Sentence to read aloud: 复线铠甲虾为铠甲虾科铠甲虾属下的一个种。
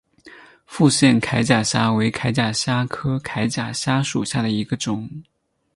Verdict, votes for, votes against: accepted, 6, 0